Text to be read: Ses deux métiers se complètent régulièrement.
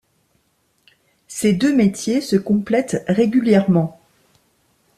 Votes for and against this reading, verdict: 2, 0, accepted